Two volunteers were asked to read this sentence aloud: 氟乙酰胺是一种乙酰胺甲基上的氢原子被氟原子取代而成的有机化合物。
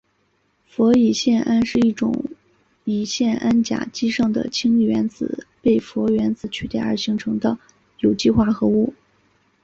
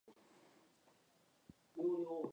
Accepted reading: first